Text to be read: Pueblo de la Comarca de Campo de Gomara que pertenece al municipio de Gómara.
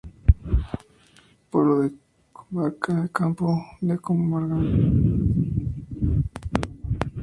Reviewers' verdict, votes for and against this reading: rejected, 0, 4